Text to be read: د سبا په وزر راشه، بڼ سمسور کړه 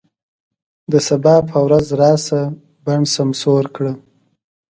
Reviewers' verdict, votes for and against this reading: rejected, 1, 2